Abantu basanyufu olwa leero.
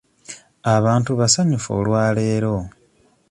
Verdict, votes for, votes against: accepted, 2, 0